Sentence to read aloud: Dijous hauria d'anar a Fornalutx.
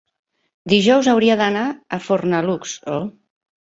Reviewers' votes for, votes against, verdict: 0, 2, rejected